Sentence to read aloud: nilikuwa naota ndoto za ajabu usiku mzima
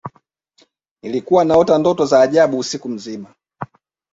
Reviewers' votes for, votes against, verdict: 1, 2, rejected